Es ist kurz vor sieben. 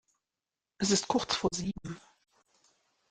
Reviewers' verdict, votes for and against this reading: accepted, 2, 0